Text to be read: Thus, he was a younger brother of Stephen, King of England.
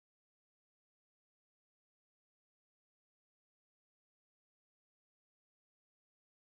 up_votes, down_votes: 0, 2